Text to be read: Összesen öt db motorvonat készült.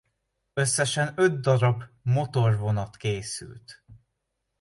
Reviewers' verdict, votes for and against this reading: accepted, 2, 0